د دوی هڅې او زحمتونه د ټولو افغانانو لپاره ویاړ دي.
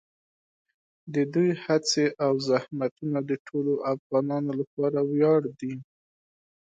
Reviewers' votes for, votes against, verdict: 5, 0, accepted